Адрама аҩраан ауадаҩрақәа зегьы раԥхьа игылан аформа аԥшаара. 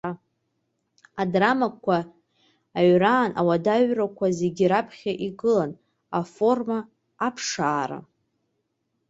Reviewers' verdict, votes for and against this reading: rejected, 0, 2